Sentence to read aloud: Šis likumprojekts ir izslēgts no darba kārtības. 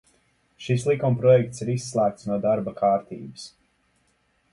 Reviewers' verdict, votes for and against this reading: accepted, 2, 0